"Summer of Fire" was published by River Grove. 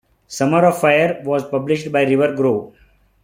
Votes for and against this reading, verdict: 2, 1, accepted